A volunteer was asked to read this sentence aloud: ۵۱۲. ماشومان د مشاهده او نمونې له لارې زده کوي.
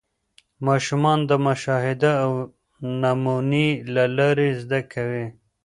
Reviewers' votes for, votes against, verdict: 0, 2, rejected